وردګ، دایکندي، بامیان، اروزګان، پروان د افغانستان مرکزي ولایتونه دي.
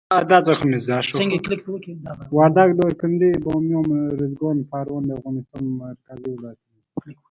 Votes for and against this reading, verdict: 1, 2, rejected